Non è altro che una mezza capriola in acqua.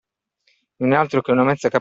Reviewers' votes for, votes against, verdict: 0, 2, rejected